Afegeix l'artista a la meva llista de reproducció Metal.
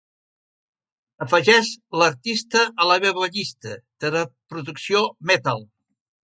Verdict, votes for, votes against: accepted, 2, 1